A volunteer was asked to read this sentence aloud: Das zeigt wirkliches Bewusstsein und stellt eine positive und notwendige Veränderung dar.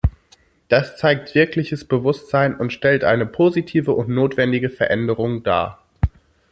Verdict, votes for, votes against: accepted, 2, 0